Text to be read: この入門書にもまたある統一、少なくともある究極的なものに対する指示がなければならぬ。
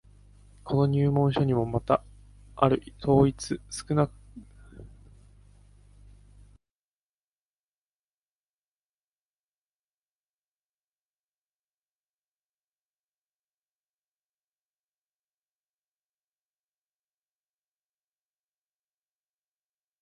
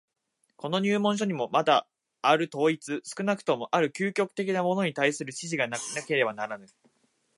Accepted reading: second